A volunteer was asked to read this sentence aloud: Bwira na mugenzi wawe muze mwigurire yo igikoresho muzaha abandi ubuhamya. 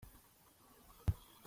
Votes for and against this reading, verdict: 0, 2, rejected